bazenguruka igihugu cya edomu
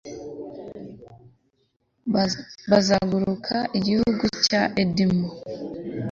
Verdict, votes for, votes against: rejected, 0, 2